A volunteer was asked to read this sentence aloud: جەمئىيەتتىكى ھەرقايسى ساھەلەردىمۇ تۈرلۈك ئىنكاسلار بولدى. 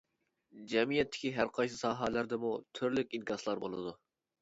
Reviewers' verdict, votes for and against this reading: rejected, 1, 2